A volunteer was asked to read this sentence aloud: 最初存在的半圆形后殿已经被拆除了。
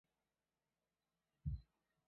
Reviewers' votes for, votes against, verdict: 0, 3, rejected